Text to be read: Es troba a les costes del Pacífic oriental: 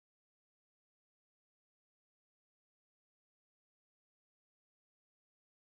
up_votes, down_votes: 1, 2